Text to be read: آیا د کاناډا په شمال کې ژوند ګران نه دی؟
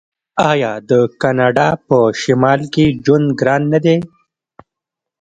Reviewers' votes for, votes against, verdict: 1, 2, rejected